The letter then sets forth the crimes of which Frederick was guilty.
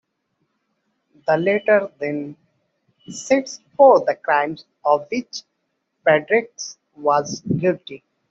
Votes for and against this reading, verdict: 0, 2, rejected